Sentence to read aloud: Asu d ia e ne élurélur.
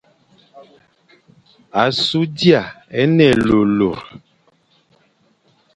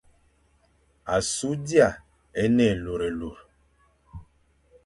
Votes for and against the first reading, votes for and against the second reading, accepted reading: 1, 2, 2, 0, second